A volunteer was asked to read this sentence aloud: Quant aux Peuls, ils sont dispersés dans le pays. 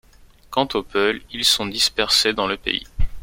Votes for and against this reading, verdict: 2, 0, accepted